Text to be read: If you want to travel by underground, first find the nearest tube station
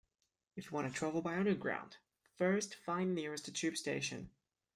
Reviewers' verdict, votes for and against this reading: rejected, 1, 2